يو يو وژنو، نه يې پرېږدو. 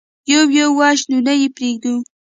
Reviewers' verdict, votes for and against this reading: accepted, 2, 0